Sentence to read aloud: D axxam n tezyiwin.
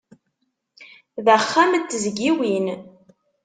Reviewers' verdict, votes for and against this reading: rejected, 1, 2